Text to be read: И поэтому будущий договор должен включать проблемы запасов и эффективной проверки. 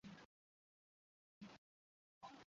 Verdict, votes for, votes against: rejected, 0, 2